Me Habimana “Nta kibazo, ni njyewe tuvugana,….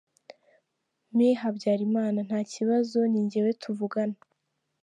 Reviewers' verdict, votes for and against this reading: rejected, 1, 2